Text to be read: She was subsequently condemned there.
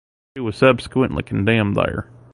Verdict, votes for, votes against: rejected, 1, 2